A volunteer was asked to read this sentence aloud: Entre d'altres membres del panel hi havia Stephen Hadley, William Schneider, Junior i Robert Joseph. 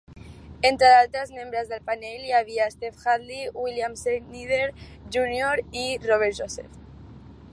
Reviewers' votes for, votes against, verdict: 2, 1, accepted